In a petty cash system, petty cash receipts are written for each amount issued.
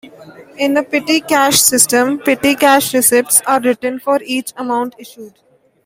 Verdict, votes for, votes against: accepted, 3, 1